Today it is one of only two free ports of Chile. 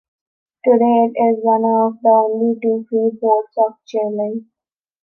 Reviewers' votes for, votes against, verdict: 1, 3, rejected